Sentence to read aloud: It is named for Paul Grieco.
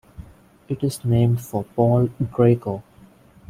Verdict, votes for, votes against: rejected, 0, 2